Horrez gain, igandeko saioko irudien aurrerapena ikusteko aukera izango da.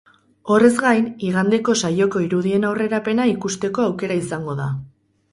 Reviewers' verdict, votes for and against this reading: rejected, 2, 2